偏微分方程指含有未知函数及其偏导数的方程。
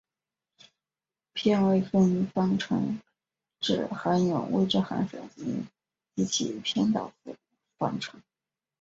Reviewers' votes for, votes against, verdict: 4, 2, accepted